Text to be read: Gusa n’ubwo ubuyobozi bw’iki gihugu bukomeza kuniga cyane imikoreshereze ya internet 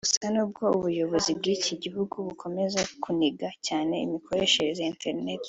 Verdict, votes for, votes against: accepted, 2, 0